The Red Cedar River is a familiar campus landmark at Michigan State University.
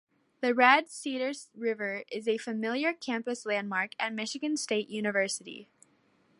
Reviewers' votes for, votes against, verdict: 2, 0, accepted